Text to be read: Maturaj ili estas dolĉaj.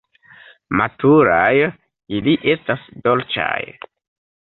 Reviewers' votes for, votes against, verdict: 2, 1, accepted